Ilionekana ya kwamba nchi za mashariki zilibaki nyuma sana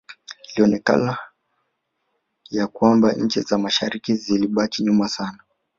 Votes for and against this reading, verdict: 3, 0, accepted